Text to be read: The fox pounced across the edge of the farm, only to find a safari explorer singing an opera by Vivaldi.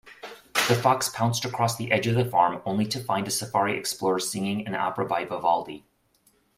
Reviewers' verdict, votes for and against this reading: accepted, 2, 0